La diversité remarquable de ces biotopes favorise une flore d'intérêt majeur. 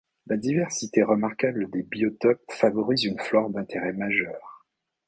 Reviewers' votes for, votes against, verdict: 1, 2, rejected